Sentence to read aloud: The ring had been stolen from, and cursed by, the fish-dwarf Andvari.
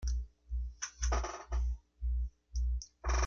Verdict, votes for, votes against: rejected, 0, 2